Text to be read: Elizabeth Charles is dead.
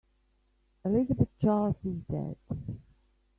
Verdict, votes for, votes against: rejected, 1, 3